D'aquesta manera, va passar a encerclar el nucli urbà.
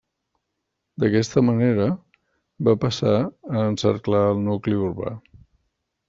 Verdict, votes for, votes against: accepted, 3, 0